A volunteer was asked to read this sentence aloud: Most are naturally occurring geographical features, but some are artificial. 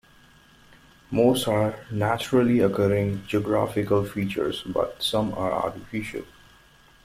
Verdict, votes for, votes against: accepted, 2, 0